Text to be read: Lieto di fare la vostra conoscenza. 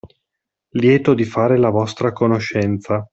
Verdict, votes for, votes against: accepted, 2, 0